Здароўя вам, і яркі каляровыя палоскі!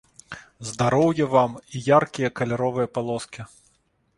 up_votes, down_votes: 1, 2